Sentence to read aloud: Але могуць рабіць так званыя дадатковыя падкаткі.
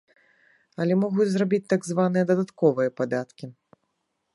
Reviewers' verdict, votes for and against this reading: rejected, 1, 2